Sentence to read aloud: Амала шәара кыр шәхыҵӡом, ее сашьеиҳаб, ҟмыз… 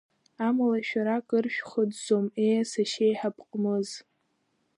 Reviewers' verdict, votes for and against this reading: rejected, 1, 2